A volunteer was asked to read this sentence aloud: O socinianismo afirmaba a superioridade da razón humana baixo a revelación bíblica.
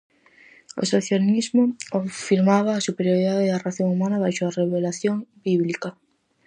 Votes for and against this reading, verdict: 0, 4, rejected